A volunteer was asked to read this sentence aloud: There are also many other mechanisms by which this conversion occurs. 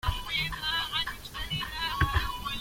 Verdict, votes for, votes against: rejected, 0, 2